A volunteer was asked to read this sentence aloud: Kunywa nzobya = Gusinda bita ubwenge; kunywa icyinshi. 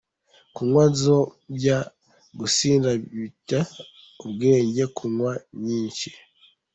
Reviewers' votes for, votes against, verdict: 3, 1, accepted